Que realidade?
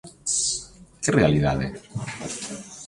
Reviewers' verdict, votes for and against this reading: rejected, 0, 2